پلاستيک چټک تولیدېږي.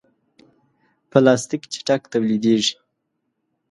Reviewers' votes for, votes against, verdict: 2, 0, accepted